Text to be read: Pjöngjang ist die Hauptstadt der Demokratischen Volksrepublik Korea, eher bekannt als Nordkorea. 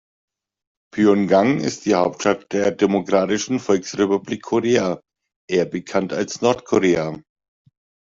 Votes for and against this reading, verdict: 1, 2, rejected